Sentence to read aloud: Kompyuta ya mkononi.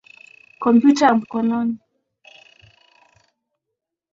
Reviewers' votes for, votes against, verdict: 16, 2, accepted